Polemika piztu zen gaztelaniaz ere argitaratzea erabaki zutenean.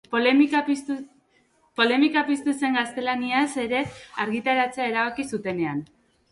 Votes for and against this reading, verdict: 0, 2, rejected